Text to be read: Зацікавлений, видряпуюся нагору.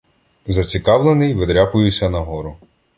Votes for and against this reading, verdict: 2, 0, accepted